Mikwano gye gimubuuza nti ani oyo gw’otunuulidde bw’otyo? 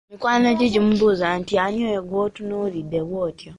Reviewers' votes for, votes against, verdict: 3, 0, accepted